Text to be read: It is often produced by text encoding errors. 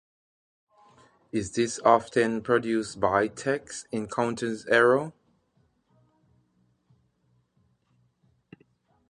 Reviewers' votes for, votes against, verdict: 0, 2, rejected